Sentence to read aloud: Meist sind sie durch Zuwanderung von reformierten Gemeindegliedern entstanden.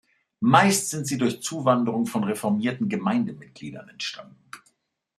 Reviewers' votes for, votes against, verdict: 1, 2, rejected